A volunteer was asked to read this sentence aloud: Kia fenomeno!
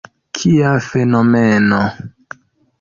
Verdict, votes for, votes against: accepted, 2, 0